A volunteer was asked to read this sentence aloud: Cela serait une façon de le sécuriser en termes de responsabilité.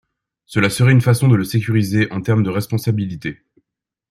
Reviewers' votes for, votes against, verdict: 2, 0, accepted